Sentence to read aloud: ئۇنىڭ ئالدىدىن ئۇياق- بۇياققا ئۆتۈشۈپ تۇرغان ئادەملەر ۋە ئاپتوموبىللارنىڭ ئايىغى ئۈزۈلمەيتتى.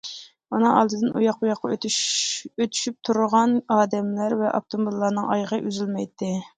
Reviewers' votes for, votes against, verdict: 0, 2, rejected